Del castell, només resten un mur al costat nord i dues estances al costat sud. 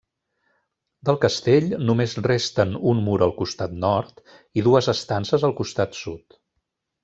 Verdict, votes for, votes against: accepted, 3, 1